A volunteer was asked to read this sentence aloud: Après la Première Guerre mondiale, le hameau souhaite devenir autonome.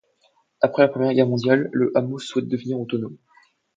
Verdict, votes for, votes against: accepted, 2, 0